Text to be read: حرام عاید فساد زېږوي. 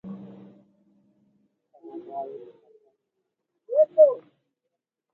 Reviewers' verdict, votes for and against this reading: rejected, 0, 2